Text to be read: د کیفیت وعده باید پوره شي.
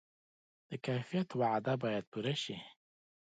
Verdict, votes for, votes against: accepted, 2, 0